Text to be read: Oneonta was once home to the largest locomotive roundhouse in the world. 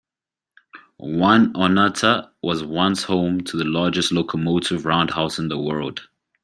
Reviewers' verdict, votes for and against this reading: accepted, 2, 0